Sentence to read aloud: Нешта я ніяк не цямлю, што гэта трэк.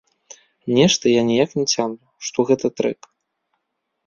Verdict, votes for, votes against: rejected, 0, 2